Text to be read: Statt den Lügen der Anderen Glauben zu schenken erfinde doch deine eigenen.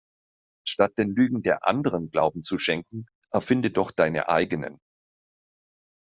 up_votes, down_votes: 2, 0